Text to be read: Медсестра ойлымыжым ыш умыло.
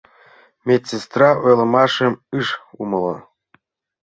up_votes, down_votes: 1, 2